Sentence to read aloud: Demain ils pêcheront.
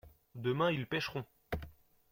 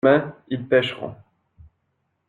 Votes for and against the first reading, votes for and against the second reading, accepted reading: 2, 1, 1, 2, first